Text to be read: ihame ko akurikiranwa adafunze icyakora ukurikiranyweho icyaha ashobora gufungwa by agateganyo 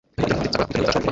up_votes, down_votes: 0, 2